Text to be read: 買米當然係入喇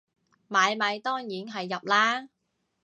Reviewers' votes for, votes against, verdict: 2, 0, accepted